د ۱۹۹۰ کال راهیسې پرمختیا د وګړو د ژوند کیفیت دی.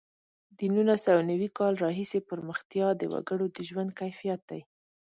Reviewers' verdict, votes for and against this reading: rejected, 0, 2